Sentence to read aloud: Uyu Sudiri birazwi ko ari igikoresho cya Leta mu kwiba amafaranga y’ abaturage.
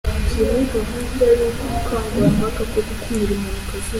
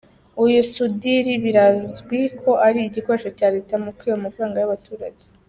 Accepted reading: second